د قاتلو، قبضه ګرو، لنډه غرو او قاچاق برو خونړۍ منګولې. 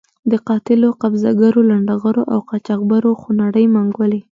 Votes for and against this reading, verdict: 1, 2, rejected